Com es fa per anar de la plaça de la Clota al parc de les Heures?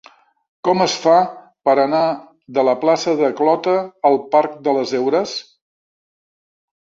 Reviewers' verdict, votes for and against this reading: rejected, 0, 2